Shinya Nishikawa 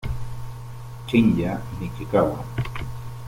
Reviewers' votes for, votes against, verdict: 1, 2, rejected